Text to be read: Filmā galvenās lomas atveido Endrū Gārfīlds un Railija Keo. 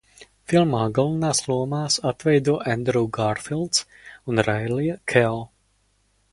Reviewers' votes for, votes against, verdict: 0, 2, rejected